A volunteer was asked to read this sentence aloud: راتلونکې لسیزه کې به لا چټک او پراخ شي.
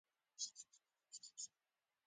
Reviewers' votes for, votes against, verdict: 0, 2, rejected